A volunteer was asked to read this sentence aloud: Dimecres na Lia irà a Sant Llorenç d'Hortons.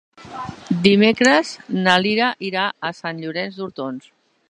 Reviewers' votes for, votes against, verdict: 0, 2, rejected